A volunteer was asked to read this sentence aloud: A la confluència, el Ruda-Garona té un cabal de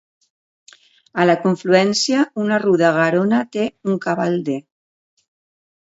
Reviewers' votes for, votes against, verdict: 1, 2, rejected